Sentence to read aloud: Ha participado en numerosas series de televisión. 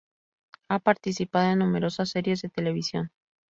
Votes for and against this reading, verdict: 2, 0, accepted